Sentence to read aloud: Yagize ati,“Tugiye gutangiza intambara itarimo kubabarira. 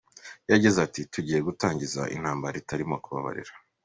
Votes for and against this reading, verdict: 2, 1, accepted